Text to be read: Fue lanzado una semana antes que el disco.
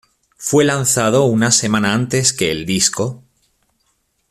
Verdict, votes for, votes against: accepted, 2, 0